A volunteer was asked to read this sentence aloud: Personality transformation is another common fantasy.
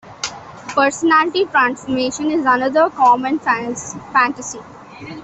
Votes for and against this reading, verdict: 0, 2, rejected